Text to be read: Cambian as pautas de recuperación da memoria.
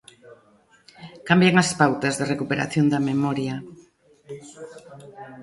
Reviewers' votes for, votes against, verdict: 2, 1, accepted